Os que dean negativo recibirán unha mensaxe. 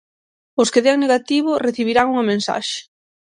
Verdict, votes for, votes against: accepted, 6, 0